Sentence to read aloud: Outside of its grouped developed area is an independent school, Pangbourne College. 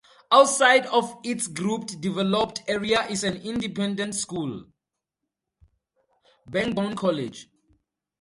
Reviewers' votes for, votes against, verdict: 4, 0, accepted